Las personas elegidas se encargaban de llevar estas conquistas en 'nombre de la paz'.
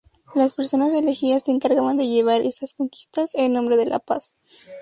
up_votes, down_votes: 0, 2